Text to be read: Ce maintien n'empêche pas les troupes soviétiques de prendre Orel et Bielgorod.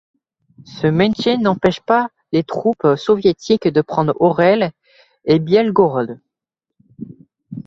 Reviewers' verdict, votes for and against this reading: accepted, 2, 1